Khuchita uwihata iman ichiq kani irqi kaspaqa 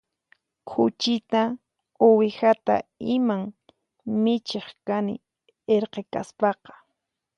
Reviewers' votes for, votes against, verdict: 4, 0, accepted